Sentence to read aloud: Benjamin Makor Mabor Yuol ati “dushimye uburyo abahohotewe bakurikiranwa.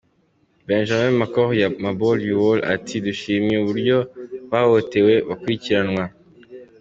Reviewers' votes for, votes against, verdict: 2, 1, accepted